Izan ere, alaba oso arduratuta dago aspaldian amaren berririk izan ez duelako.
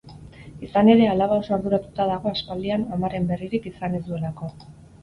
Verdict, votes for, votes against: accepted, 4, 0